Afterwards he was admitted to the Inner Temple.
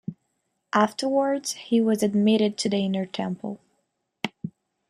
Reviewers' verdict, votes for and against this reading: accepted, 2, 0